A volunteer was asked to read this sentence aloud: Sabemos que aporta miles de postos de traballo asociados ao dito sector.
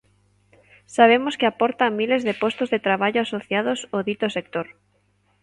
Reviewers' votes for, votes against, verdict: 2, 0, accepted